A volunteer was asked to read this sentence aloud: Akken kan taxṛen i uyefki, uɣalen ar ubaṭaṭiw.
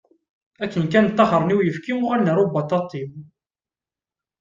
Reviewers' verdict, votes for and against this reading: accepted, 2, 0